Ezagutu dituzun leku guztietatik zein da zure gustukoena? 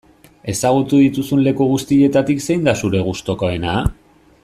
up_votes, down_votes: 2, 0